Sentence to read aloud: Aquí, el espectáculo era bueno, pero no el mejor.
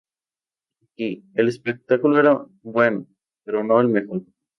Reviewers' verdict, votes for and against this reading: rejected, 2, 2